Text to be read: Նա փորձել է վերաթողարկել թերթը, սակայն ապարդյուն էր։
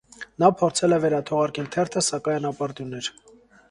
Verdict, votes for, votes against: accepted, 2, 0